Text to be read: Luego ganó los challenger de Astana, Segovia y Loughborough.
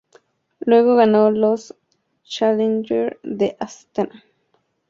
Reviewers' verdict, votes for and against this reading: rejected, 2, 2